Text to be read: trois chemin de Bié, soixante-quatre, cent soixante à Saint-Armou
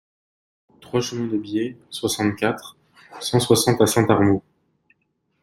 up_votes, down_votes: 2, 0